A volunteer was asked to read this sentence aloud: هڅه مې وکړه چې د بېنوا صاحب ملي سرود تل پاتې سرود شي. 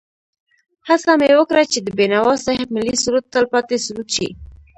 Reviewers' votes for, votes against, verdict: 0, 2, rejected